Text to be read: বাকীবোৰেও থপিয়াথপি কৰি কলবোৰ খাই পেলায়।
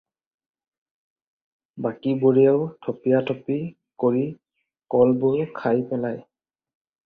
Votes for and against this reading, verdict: 4, 0, accepted